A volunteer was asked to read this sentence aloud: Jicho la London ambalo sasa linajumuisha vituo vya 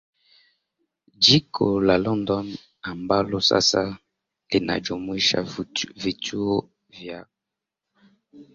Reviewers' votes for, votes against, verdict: 0, 2, rejected